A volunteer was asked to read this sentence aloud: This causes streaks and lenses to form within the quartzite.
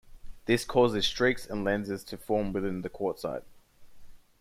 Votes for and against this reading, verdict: 2, 0, accepted